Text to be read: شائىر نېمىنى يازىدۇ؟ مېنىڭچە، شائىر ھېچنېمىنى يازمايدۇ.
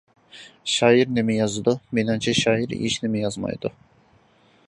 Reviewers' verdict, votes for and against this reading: rejected, 0, 2